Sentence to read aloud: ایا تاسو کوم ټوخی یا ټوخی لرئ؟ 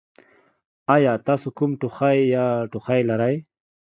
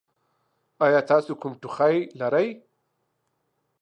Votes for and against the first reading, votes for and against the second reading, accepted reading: 2, 0, 0, 2, first